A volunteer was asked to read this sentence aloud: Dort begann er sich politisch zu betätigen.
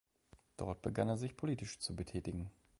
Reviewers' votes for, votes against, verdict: 2, 0, accepted